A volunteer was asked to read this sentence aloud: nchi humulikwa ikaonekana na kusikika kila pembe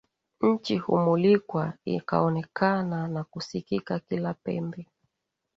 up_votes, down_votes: 2, 0